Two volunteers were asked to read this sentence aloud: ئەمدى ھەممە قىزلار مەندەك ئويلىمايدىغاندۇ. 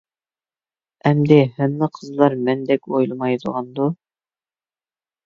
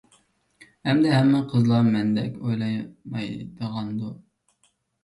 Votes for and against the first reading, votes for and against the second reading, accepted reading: 2, 0, 0, 2, first